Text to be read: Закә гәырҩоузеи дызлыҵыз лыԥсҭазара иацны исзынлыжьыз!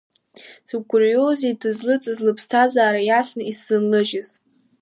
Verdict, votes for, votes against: accepted, 2, 1